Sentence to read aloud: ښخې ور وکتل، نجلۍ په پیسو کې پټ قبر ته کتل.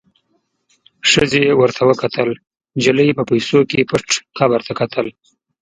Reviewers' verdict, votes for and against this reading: rejected, 1, 2